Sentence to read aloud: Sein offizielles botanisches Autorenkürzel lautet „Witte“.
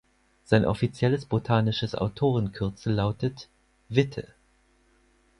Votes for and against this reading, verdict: 4, 0, accepted